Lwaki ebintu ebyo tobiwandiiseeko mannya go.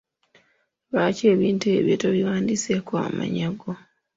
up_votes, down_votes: 2, 1